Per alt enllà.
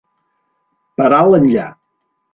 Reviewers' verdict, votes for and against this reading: accepted, 2, 0